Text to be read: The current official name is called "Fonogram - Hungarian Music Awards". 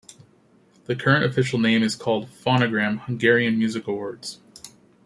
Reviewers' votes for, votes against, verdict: 2, 0, accepted